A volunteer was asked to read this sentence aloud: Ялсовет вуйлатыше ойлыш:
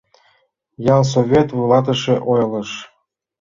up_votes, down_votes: 2, 0